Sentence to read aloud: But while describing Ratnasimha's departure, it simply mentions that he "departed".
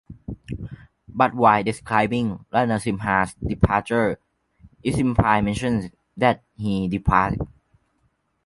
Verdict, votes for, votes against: rejected, 0, 2